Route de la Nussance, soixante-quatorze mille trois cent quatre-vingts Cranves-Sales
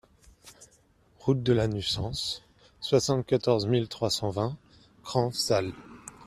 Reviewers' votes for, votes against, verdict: 0, 2, rejected